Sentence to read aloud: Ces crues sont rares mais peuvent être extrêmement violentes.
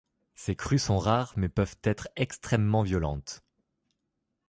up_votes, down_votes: 2, 0